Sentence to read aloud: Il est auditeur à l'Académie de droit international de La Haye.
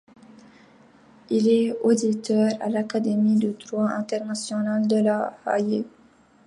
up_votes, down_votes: 2, 0